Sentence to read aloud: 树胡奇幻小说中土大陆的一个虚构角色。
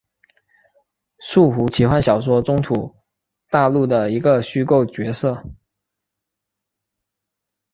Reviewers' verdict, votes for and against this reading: accepted, 4, 0